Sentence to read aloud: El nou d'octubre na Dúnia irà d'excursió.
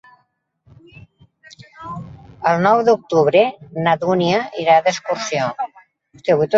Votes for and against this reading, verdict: 0, 2, rejected